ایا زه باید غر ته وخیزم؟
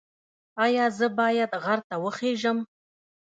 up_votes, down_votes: 0, 2